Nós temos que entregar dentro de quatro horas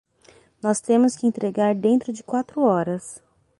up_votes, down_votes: 6, 0